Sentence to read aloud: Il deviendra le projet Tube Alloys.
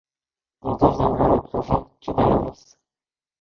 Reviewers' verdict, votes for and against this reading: rejected, 0, 2